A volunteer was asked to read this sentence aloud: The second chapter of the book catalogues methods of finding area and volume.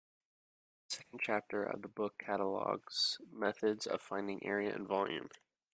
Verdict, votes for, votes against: rejected, 1, 2